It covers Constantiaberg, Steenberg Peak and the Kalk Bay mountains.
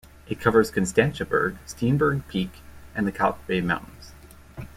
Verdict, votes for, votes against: accepted, 2, 0